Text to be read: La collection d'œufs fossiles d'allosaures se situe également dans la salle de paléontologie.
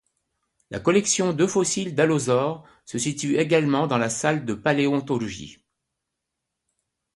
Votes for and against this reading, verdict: 2, 0, accepted